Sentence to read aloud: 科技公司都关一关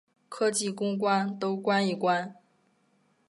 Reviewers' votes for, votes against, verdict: 1, 2, rejected